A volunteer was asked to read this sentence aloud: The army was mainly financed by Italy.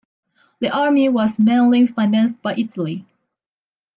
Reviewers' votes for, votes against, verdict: 2, 0, accepted